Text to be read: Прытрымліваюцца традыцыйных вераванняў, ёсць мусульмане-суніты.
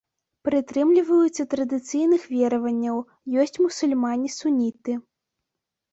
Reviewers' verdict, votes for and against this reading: accepted, 2, 0